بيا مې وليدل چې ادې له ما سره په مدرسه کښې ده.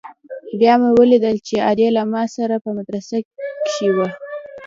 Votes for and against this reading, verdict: 2, 0, accepted